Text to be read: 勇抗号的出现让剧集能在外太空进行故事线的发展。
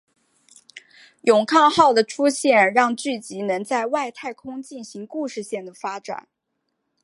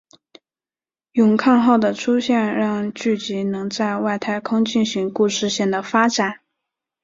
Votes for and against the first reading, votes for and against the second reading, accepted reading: 2, 0, 0, 3, first